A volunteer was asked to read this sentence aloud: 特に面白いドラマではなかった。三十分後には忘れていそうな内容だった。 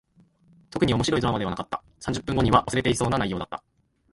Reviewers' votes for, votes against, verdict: 1, 2, rejected